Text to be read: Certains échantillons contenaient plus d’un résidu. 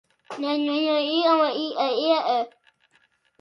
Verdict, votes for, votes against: rejected, 0, 2